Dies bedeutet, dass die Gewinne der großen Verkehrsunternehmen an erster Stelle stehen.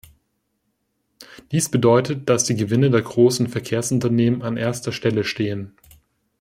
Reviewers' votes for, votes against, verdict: 2, 0, accepted